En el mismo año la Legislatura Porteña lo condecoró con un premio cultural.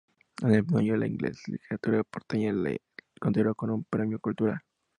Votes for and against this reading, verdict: 0, 2, rejected